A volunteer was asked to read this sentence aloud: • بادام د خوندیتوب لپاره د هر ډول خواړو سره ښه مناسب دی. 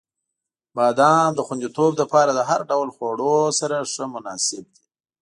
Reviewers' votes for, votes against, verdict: 3, 0, accepted